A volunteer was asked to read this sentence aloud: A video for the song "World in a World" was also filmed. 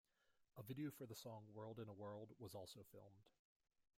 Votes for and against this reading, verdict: 2, 0, accepted